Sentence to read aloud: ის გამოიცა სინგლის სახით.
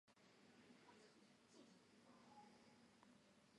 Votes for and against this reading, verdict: 2, 3, rejected